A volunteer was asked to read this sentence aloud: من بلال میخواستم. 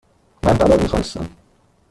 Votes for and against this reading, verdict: 1, 2, rejected